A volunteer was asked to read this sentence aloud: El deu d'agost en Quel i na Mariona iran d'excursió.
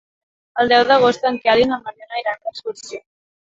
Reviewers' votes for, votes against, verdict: 2, 3, rejected